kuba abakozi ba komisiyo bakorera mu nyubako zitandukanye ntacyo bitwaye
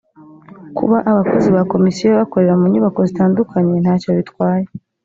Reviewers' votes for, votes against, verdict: 2, 0, accepted